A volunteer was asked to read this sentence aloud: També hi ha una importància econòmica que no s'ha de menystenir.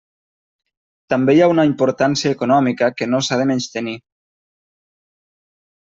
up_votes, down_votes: 3, 0